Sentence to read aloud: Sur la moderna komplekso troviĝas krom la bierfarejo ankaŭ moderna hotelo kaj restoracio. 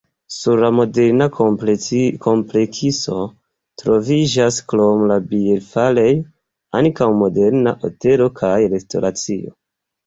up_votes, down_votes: 3, 4